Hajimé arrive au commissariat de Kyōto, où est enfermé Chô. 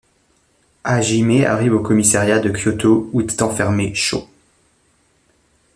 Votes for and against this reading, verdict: 0, 2, rejected